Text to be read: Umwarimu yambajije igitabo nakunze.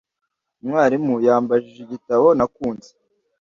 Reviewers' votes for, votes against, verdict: 2, 0, accepted